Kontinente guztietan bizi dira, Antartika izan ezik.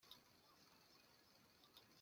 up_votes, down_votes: 0, 2